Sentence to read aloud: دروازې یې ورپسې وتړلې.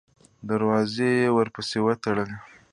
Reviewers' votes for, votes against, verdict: 2, 1, accepted